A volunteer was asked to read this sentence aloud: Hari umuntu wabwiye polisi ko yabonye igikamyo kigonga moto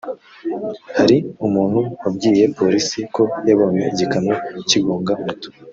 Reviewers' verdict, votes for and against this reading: rejected, 0, 2